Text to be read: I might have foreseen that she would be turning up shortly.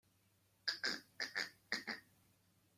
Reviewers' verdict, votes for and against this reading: rejected, 1, 2